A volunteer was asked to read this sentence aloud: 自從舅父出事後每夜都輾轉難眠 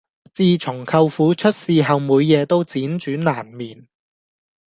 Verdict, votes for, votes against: accepted, 2, 0